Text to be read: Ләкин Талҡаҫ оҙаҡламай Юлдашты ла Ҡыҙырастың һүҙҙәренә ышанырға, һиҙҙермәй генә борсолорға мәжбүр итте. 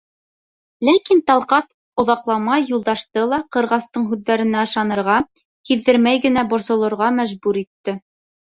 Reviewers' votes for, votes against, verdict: 2, 3, rejected